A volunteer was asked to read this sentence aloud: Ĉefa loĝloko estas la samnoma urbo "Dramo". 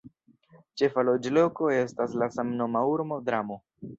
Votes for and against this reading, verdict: 1, 2, rejected